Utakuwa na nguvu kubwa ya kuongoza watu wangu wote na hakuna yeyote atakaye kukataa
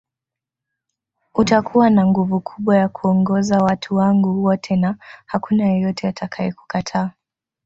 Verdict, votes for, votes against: rejected, 1, 2